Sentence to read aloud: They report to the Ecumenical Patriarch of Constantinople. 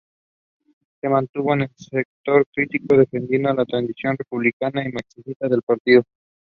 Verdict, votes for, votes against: rejected, 0, 2